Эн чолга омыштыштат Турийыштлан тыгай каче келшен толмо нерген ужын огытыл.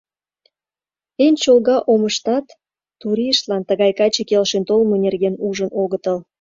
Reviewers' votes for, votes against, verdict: 1, 2, rejected